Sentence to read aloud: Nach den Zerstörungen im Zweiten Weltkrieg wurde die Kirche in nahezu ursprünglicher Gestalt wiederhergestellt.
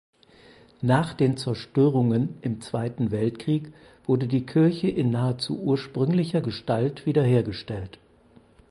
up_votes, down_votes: 4, 0